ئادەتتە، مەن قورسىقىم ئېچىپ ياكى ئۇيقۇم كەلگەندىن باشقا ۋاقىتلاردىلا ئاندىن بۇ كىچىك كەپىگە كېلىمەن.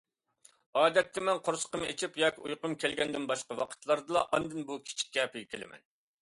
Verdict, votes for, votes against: accepted, 2, 0